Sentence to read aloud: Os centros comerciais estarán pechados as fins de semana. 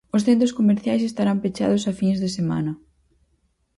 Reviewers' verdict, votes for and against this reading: accepted, 4, 0